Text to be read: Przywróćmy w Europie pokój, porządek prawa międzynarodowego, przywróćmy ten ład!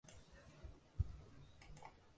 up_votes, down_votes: 0, 2